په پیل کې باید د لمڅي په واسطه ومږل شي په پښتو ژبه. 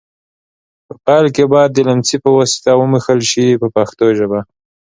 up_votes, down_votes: 2, 0